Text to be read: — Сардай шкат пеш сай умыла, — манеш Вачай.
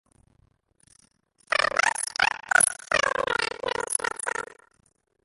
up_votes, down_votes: 0, 2